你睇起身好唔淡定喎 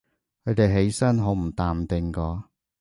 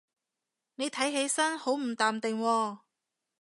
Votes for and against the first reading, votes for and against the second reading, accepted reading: 0, 2, 2, 0, second